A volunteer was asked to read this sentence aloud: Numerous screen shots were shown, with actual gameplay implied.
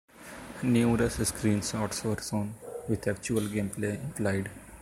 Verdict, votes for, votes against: rejected, 1, 2